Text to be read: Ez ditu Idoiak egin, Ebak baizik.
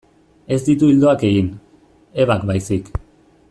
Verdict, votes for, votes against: rejected, 0, 2